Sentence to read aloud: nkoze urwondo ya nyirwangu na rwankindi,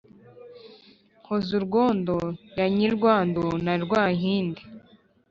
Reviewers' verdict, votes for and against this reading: accepted, 2, 0